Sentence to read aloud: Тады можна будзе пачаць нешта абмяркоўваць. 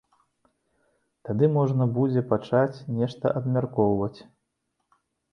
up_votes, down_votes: 2, 0